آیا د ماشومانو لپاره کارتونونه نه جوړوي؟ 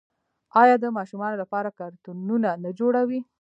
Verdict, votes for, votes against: rejected, 0, 2